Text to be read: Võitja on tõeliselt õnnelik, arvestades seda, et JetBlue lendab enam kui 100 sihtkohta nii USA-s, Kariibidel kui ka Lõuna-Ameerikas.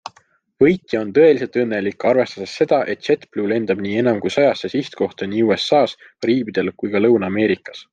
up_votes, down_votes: 0, 2